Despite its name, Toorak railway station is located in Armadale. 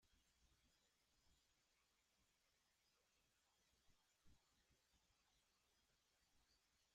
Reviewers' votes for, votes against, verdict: 0, 2, rejected